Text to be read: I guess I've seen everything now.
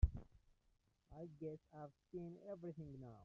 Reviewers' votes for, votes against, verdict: 0, 2, rejected